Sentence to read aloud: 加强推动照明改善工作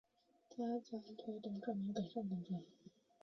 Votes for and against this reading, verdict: 2, 4, rejected